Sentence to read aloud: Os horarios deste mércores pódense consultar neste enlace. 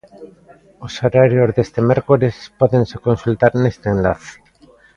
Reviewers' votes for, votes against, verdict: 1, 2, rejected